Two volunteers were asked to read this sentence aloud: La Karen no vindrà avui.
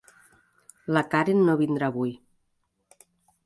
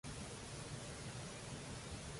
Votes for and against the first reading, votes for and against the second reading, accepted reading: 5, 0, 0, 2, first